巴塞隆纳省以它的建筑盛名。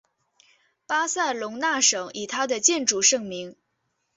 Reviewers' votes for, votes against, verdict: 3, 1, accepted